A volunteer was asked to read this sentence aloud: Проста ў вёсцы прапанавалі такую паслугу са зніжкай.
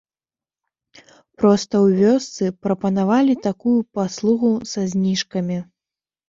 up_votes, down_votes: 1, 2